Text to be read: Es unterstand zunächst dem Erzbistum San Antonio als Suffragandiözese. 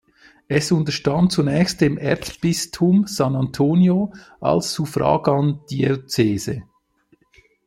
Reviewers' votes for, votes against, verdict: 2, 0, accepted